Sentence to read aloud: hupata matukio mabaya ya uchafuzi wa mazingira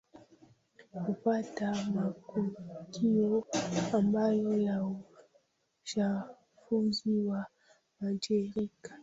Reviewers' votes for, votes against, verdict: 1, 2, rejected